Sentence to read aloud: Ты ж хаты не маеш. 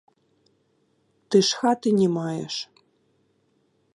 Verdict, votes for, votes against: rejected, 1, 2